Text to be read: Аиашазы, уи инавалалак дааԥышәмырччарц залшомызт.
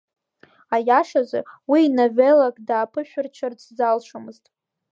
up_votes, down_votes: 0, 2